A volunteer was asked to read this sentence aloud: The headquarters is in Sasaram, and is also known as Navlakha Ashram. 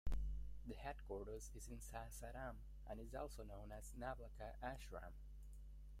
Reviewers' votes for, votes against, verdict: 1, 2, rejected